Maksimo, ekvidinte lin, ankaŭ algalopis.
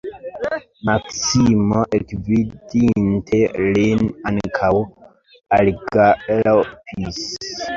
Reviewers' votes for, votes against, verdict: 2, 0, accepted